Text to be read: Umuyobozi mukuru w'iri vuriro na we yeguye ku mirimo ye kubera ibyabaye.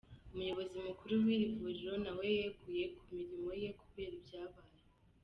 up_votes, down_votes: 2, 0